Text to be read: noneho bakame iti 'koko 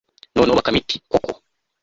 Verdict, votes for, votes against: rejected, 0, 3